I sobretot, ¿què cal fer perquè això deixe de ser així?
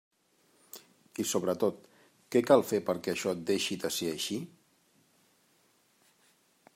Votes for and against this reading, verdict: 1, 2, rejected